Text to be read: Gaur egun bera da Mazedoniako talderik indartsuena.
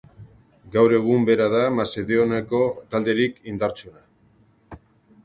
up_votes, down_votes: 0, 2